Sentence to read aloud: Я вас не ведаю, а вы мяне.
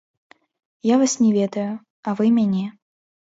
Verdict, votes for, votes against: rejected, 0, 2